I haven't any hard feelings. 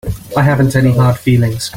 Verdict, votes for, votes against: accepted, 2, 0